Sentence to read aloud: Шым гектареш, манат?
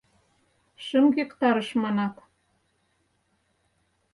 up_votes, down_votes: 0, 4